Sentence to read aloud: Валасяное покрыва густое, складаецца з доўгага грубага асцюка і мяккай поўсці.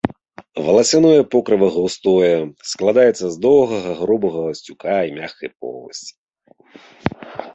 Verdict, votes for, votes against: rejected, 1, 2